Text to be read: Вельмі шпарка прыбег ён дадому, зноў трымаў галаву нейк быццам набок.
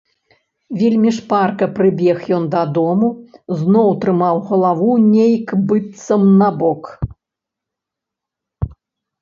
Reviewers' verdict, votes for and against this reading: accepted, 2, 0